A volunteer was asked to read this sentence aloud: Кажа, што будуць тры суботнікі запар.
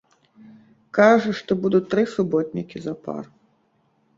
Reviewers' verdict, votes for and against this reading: rejected, 1, 2